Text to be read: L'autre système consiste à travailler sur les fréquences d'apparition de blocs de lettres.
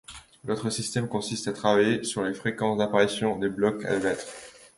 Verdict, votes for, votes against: rejected, 1, 2